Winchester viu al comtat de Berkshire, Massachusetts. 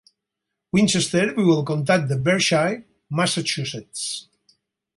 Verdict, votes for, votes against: accepted, 4, 0